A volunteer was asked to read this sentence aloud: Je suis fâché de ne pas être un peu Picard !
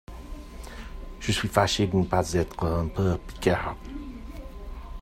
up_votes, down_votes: 2, 1